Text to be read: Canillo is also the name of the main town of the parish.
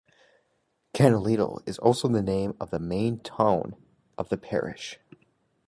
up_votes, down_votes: 1, 2